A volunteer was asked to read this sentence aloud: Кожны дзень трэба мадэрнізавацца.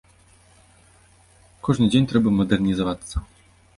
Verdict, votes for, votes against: accepted, 2, 0